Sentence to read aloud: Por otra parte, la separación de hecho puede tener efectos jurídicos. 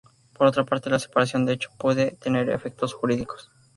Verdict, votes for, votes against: accepted, 2, 0